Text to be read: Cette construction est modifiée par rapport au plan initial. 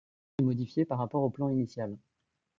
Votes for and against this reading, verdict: 1, 2, rejected